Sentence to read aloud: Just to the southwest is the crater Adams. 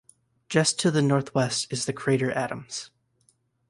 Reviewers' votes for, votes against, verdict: 0, 2, rejected